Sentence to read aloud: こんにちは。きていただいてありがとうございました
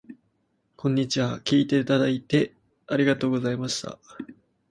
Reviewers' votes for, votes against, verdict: 0, 2, rejected